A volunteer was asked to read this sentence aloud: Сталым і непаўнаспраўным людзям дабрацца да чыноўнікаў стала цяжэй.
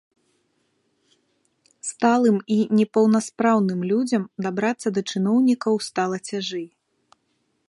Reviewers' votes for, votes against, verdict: 2, 0, accepted